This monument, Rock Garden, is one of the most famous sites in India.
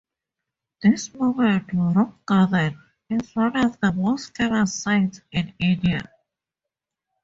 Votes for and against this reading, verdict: 4, 2, accepted